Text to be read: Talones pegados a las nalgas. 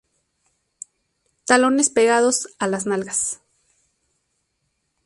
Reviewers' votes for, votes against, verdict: 2, 0, accepted